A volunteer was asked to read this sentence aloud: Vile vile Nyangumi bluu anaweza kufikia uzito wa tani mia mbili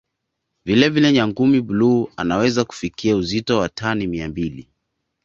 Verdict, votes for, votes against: accepted, 2, 0